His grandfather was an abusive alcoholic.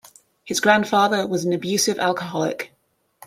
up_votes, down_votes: 2, 0